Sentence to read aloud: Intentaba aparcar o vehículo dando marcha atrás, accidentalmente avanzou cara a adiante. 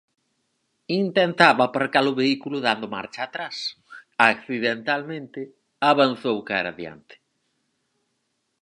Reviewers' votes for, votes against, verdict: 4, 0, accepted